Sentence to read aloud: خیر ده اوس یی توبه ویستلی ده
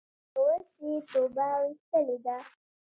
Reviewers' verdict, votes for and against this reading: rejected, 1, 2